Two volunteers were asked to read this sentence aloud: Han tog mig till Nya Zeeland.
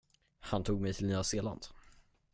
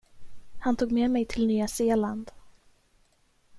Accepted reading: first